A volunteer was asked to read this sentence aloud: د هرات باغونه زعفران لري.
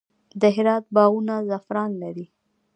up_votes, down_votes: 2, 1